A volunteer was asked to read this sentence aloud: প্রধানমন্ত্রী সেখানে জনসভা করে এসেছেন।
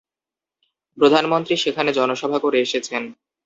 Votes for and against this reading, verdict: 2, 0, accepted